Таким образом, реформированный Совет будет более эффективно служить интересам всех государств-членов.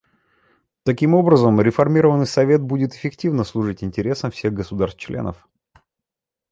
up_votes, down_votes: 0, 2